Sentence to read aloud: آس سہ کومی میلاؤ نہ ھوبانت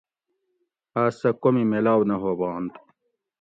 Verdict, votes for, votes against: accepted, 2, 0